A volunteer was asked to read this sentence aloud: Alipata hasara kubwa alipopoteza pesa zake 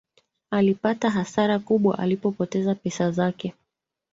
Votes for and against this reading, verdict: 0, 2, rejected